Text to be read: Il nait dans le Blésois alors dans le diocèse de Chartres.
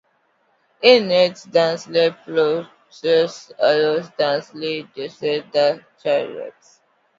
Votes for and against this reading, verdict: 0, 2, rejected